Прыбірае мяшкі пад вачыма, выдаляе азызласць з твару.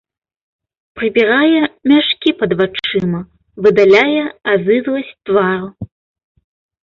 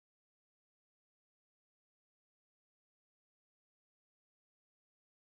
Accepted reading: first